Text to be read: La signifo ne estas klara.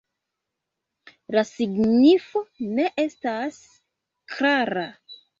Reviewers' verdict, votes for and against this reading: accepted, 2, 1